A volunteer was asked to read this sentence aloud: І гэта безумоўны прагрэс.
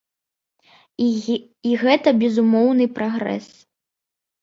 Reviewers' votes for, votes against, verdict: 0, 2, rejected